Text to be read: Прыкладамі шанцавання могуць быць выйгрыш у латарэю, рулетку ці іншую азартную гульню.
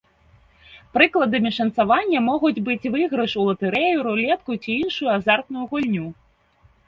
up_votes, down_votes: 2, 0